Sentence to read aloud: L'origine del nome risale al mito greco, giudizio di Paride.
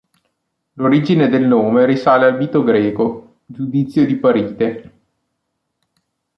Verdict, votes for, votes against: rejected, 1, 2